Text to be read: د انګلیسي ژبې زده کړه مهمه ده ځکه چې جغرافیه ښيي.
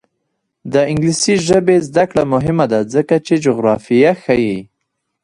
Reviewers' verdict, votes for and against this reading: accepted, 2, 0